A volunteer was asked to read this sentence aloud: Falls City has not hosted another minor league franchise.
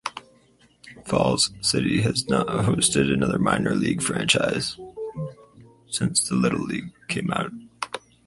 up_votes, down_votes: 2, 4